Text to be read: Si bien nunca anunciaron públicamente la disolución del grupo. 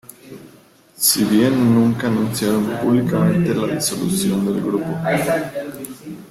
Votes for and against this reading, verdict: 2, 0, accepted